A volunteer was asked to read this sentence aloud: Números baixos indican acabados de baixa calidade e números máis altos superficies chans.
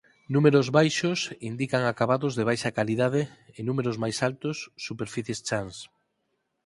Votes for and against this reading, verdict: 4, 0, accepted